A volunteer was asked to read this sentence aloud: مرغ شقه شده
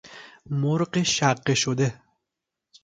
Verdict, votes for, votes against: accepted, 2, 0